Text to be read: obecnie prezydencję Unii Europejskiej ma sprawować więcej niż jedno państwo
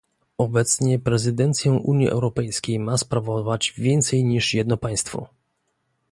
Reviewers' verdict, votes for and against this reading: accepted, 2, 0